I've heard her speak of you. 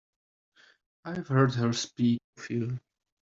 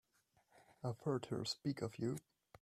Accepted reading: second